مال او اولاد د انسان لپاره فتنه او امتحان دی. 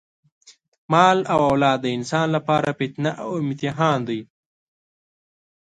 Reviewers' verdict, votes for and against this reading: accepted, 2, 0